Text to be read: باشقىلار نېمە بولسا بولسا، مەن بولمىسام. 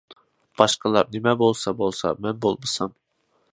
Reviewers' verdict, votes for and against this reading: accepted, 2, 0